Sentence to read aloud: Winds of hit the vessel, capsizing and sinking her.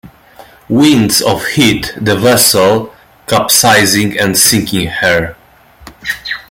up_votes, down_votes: 2, 0